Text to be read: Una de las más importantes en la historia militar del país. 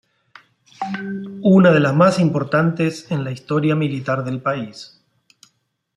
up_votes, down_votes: 2, 0